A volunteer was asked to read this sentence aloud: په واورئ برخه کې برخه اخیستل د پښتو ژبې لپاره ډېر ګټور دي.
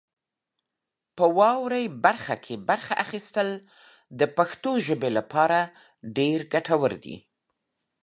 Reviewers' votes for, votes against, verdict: 2, 0, accepted